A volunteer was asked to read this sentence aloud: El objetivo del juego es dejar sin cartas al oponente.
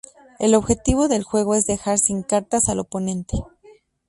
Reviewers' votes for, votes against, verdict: 4, 0, accepted